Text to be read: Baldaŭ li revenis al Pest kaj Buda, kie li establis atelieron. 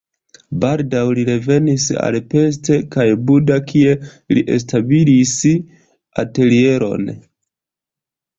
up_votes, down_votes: 2, 0